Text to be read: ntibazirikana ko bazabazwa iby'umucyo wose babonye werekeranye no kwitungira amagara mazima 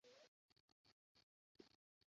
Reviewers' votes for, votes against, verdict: 0, 2, rejected